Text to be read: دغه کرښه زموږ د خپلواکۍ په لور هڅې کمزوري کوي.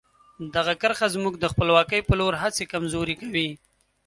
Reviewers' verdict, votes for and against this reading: accepted, 2, 0